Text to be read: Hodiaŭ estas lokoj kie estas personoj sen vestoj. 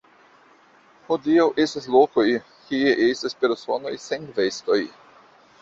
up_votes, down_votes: 0, 2